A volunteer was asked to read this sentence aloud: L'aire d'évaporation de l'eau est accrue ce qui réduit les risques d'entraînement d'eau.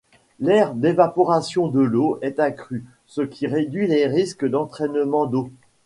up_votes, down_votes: 2, 0